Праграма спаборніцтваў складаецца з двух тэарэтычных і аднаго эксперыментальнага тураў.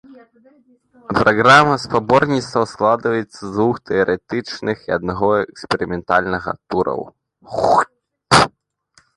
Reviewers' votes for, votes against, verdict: 0, 2, rejected